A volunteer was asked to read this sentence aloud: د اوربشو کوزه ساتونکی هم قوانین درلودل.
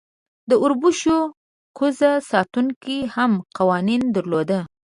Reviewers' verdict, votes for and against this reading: rejected, 2, 3